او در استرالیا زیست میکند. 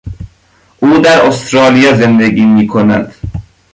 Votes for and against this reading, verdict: 1, 2, rejected